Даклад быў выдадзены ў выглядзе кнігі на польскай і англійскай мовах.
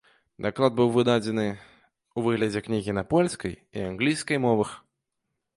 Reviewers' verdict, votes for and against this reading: accepted, 2, 0